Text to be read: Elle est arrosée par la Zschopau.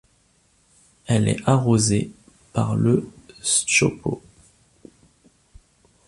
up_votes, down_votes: 0, 2